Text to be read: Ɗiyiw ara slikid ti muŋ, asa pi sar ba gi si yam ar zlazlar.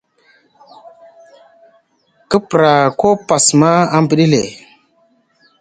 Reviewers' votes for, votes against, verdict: 0, 2, rejected